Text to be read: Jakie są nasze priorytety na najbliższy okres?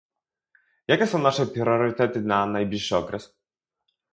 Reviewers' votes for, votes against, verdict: 0, 2, rejected